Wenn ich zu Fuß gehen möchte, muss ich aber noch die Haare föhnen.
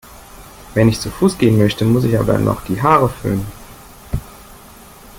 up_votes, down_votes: 0, 2